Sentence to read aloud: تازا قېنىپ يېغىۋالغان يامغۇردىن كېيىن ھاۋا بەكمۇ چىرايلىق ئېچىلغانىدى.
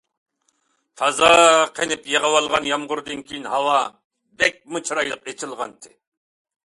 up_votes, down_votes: 1, 2